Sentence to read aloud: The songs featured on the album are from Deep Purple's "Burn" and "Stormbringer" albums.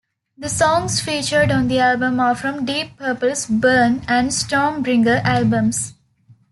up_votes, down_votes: 2, 0